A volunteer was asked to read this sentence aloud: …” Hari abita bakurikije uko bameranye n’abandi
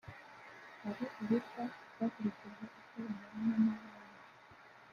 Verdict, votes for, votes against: rejected, 1, 2